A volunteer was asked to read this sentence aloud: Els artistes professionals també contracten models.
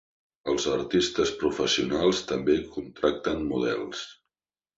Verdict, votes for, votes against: accepted, 3, 0